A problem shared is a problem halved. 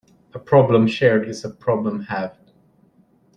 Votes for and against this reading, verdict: 2, 0, accepted